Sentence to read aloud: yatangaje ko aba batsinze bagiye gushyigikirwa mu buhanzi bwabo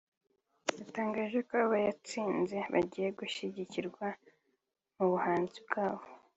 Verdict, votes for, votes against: accepted, 2, 0